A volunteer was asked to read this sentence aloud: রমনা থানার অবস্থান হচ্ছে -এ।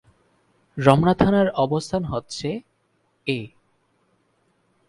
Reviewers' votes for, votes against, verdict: 4, 0, accepted